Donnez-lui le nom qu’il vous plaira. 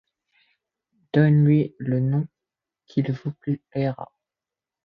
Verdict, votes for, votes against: rejected, 0, 2